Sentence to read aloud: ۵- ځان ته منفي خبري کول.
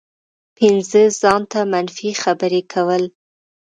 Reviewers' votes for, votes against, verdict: 0, 2, rejected